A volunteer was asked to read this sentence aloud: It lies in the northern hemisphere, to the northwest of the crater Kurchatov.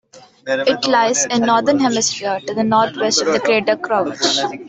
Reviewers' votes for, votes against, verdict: 0, 2, rejected